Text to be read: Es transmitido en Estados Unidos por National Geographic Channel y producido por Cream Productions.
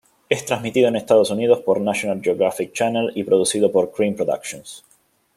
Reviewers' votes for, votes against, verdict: 2, 0, accepted